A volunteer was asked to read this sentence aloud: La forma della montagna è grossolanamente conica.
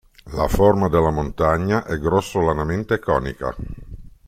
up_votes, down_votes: 2, 0